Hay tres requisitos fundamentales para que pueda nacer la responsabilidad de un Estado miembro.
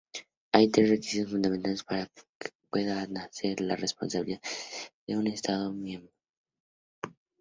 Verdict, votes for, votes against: accepted, 2, 0